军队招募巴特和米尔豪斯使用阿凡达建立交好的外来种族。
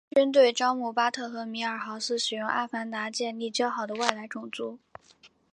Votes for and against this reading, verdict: 3, 0, accepted